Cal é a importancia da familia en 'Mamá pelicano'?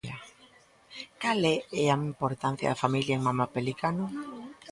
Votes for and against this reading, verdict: 1, 2, rejected